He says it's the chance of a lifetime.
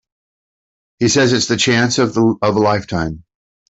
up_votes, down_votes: 0, 2